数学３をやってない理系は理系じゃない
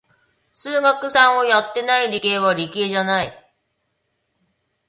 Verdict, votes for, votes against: rejected, 0, 2